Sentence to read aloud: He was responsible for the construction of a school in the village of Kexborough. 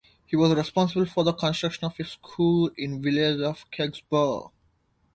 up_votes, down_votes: 2, 0